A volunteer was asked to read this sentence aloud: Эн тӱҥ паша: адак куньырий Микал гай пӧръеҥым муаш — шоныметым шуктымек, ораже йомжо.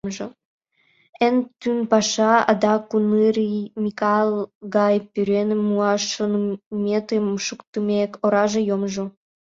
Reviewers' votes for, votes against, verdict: 0, 2, rejected